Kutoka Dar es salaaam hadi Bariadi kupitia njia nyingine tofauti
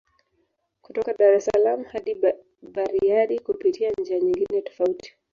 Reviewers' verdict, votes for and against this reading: rejected, 1, 2